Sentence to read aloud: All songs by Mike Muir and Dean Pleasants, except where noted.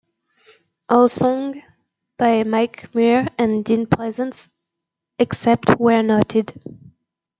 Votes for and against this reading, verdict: 0, 2, rejected